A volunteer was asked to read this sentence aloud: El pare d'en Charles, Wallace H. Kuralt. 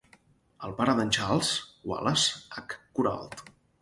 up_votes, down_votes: 4, 0